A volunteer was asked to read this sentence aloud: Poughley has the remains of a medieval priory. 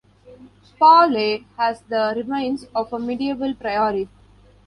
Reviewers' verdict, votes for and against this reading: rejected, 0, 2